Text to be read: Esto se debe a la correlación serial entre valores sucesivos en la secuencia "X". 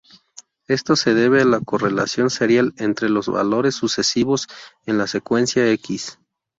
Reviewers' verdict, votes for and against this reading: rejected, 0, 2